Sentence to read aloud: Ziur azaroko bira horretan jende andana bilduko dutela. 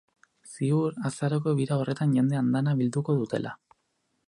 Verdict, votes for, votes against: accepted, 4, 0